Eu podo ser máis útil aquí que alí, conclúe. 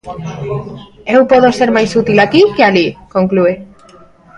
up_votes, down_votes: 1, 2